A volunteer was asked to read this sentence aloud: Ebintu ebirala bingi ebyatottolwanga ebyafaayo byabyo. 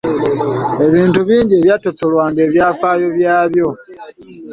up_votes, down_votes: 1, 2